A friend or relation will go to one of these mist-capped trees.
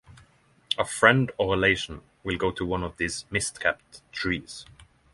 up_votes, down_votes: 6, 0